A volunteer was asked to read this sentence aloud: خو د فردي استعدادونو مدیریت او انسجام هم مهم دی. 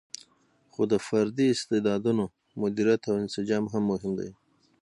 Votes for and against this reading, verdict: 6, 3, accepted